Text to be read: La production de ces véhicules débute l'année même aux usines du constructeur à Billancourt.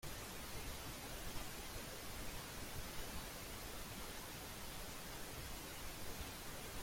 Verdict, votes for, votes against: rejected, 0, 2